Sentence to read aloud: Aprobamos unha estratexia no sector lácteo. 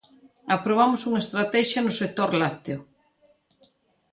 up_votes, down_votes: 2, 0